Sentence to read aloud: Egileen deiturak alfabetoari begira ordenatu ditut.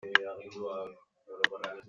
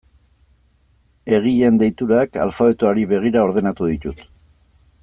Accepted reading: second